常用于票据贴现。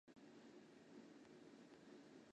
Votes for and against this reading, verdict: 1, 2, rejected